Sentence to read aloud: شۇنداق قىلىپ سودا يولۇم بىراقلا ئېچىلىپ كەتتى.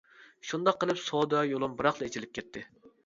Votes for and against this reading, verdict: 2, 0, accepted